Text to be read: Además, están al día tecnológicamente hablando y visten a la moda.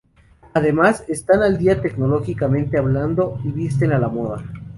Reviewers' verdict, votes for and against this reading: accepted, 2, 0